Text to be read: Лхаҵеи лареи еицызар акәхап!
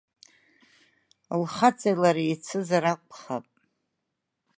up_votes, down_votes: 2, 0